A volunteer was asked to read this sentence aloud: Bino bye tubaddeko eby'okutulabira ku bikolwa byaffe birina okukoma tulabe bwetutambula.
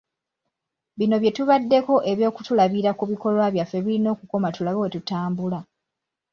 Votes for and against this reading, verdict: 2, 0, accepted